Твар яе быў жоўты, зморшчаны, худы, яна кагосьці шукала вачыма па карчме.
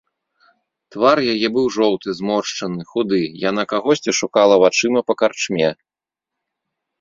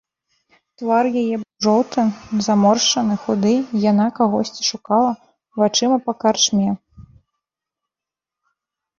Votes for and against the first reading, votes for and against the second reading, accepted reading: 2, 0, 1, 2, first